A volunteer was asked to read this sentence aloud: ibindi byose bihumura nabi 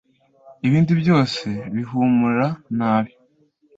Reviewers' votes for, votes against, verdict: 2, 0, accepted